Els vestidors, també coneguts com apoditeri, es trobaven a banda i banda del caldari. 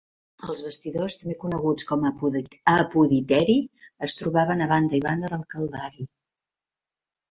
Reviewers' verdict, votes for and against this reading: rejected, 1, 2